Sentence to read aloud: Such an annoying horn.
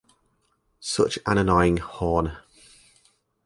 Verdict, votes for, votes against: accepted, 4, 0